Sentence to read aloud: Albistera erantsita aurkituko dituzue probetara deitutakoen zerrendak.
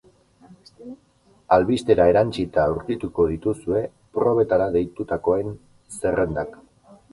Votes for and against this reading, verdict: 0, 2, rejected